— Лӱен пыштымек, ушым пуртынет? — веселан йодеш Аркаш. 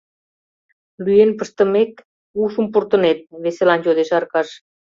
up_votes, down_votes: 2, 0